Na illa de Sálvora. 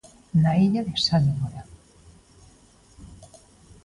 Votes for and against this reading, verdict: 2, 0, accepted